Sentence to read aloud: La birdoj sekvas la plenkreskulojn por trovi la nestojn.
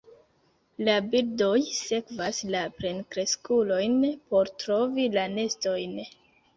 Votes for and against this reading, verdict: 0, 2, rejected